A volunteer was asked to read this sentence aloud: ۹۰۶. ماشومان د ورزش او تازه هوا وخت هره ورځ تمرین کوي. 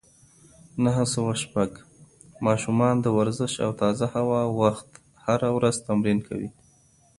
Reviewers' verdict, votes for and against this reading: rejected, 0, 2